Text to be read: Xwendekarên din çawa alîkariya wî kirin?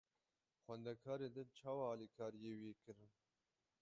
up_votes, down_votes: 0, 6